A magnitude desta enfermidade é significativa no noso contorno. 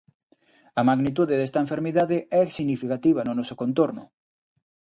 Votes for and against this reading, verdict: 2, 0, accepted